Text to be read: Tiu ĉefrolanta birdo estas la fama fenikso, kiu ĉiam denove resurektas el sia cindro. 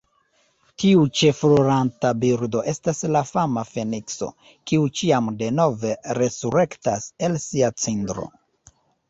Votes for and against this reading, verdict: 0, 2, rejected